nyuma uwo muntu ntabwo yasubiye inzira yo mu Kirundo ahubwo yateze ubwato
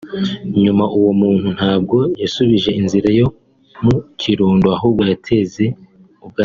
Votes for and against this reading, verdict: 2, 3, rejected